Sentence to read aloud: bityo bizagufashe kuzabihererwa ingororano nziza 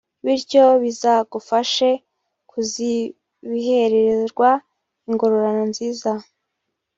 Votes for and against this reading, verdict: 1, 2, rejected